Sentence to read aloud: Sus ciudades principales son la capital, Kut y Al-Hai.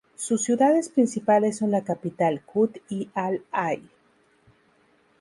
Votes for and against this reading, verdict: 2, 0, accepted